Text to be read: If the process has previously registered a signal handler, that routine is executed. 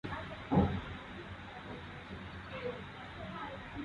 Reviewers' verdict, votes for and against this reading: rejected, 0, 2